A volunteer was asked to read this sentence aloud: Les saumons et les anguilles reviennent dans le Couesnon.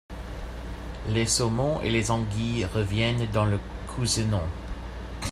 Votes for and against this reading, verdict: 0, 2, rejected